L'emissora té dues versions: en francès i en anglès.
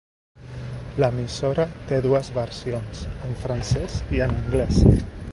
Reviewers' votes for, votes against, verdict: 2, 0, accepted